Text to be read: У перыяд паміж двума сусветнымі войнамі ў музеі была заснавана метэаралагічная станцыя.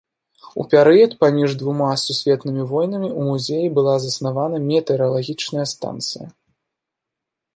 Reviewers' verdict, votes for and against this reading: accepted, 2, 0